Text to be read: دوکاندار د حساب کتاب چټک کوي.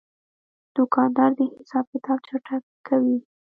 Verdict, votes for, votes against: rejected, 0, 2